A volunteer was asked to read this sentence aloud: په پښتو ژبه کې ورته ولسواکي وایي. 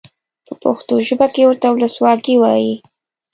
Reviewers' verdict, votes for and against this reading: accepted, 2, 0